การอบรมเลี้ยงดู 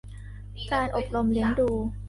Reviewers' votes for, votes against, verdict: 2, 1, accepted